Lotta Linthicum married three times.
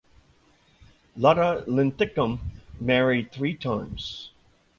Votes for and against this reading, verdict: 2, 0, accepted